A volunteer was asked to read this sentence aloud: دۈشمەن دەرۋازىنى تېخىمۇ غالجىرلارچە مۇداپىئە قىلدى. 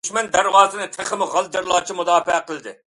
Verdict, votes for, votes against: rejected, 0, 2